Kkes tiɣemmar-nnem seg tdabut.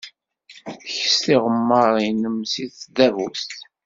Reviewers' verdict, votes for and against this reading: rejected, 1, 2